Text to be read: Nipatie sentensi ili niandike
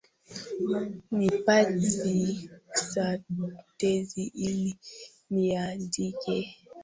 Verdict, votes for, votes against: rejected, 0, 2